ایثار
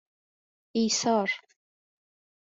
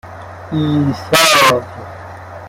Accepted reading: first